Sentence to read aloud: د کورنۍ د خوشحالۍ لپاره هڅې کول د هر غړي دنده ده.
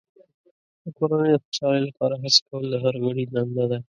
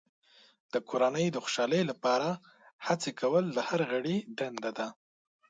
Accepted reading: second